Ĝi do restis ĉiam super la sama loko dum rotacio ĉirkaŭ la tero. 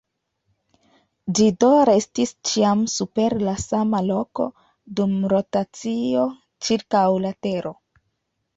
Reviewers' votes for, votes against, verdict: 2, 0, accepted